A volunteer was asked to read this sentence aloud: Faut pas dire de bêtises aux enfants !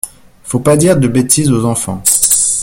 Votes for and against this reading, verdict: 1, 2, rejected